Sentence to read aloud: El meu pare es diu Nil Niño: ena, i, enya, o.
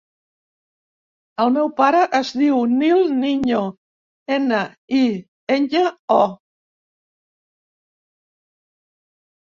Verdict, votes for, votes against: accepted, 3, 0